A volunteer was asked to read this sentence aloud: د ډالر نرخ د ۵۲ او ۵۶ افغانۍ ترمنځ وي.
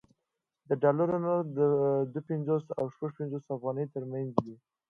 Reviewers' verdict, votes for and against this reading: rejected, 0, 2